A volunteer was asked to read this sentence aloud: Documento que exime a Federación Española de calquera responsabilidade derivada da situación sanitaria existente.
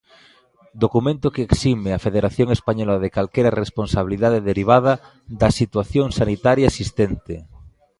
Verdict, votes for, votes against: accepted, 2, 0